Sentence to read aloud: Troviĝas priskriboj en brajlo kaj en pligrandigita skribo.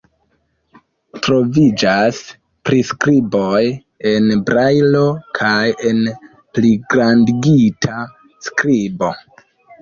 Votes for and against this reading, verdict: 2, 0, accepted